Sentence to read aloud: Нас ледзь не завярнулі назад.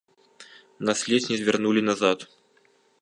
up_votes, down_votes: 1, 2